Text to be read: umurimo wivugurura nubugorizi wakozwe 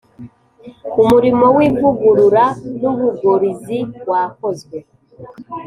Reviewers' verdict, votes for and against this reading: accepted, 2, 0